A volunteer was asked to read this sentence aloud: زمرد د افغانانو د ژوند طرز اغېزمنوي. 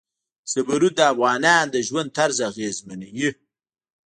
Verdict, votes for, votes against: accepted, 2, 0